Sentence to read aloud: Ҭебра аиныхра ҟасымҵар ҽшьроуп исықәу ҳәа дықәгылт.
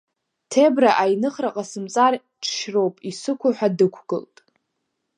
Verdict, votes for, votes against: accepted, 2, 0